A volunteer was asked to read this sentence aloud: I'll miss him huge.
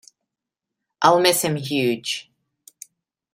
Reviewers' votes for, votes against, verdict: 2, 1, accepted